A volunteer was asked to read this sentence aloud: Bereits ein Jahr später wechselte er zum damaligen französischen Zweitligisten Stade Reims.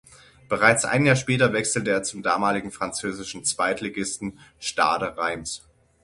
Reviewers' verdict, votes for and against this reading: accepted, 6, 0